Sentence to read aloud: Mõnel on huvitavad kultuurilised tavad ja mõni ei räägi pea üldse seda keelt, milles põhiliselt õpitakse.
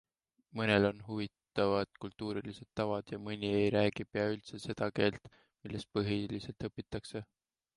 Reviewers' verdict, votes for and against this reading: accepted, 2, 0